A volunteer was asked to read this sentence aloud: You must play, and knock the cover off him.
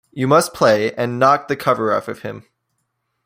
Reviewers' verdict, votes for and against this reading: rejected, 1, 2